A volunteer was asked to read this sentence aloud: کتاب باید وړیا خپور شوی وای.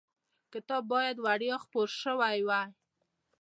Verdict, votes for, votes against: accepted, 2, 0